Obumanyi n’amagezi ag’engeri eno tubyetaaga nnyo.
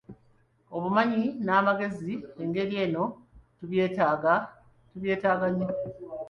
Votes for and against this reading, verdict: 0, 2, rejected